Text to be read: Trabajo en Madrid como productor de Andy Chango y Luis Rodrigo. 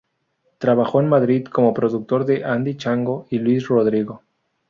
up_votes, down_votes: 0, 2